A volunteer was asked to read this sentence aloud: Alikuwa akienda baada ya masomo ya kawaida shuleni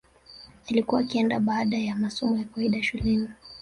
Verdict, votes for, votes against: accepted, 4, 1